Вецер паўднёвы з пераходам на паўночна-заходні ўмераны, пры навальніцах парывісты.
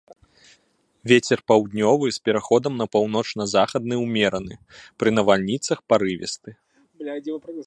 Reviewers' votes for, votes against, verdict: 0, 2, rejected